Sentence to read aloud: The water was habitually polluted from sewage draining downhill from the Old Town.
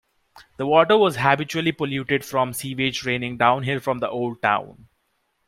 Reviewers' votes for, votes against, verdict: 2, 0, accepted